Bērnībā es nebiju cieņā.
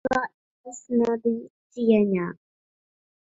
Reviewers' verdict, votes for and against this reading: rejected, 0, 5